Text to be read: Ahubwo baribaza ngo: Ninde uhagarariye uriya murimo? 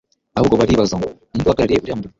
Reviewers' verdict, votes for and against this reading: rejected, 0, 2